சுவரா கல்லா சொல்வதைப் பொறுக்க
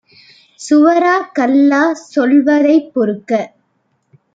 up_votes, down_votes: 2, 0